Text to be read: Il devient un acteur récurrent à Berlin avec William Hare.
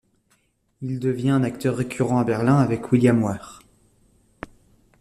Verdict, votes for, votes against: rejected, 1, 2